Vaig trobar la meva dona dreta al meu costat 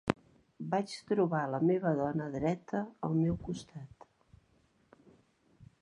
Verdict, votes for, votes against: accepted, 3, 0